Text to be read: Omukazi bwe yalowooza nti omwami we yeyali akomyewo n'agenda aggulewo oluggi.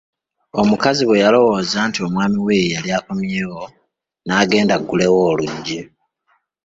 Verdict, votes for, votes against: accepted, 2, 1